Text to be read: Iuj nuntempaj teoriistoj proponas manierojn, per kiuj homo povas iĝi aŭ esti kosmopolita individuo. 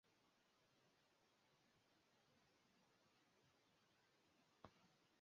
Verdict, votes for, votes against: rejected, 1, 2